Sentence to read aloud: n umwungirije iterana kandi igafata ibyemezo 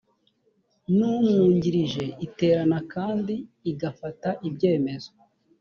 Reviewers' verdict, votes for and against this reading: accepted, 5, 0